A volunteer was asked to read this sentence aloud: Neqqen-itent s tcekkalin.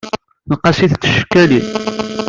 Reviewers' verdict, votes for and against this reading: rejected, 0, 2